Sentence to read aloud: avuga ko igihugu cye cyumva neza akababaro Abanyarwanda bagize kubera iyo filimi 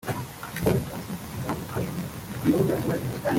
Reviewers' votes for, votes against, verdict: 0, 2, rejected